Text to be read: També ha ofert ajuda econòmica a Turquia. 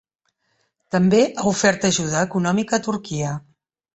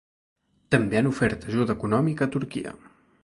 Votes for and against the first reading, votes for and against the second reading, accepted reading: 3, 0, 1, 2, first